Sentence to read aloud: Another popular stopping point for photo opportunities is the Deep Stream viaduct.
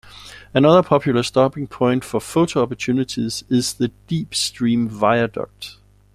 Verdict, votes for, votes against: accepted, 2, 0